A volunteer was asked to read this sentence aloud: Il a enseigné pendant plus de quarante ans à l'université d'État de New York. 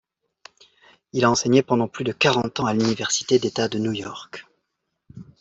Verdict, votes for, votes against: accepted, 2, 0